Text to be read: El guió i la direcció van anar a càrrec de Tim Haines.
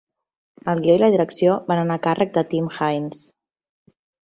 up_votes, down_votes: 3, 0